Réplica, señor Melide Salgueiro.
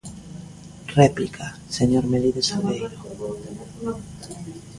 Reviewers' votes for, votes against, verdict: 2, 1, accepted